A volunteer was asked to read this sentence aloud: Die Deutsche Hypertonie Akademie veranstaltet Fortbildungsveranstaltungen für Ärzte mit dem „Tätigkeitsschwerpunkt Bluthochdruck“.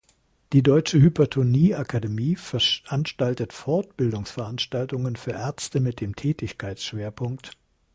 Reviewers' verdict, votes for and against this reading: rejected, 0, 2